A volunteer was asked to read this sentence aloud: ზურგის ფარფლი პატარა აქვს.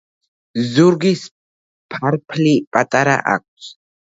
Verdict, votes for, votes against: rejected, 0, 3